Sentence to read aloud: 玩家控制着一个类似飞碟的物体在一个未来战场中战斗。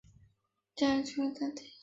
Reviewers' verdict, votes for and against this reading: rejected, 0, 2